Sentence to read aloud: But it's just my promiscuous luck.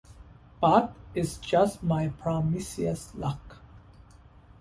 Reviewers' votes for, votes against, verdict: 1, 2, rejected